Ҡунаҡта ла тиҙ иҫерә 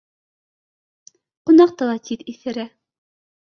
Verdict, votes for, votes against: accepted, 2, 0